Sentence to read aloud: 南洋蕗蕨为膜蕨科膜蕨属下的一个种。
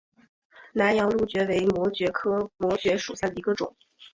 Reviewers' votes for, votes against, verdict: 2, 0, accepted